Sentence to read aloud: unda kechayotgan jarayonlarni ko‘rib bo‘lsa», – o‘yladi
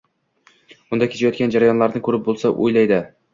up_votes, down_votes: 2, 0